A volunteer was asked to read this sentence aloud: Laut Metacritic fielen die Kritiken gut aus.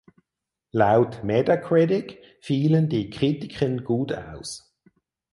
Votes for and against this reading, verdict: 2, 4, rejected